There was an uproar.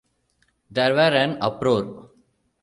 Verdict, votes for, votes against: rejected, 0, 2